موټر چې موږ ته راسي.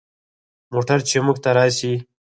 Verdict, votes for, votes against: rejected, 0, 4